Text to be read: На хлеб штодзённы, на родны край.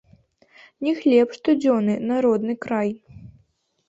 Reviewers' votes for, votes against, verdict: 1, 2, rejected